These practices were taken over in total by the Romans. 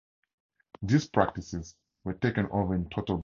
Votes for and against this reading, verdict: 0, 4, rejected